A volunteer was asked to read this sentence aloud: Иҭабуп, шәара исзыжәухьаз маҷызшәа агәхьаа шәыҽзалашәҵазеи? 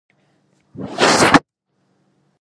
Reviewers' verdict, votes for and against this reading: rejected, 1, 2